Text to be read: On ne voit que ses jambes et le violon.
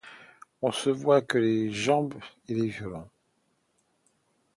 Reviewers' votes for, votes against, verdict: 0, 2, rejected